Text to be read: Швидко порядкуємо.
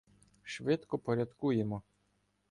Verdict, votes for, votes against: accepted, 2, 0